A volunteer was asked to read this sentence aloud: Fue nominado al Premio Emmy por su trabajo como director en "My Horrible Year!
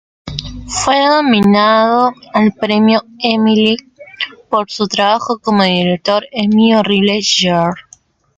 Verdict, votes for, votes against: rejected, 0, 2